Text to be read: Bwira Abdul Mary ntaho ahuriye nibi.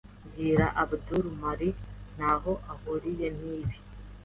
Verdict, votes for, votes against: accepted, 3, 0